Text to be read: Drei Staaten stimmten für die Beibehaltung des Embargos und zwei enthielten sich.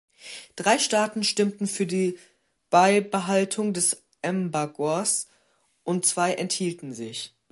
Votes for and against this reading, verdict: 0, 2, rejected